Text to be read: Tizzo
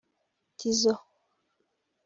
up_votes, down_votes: 2, 0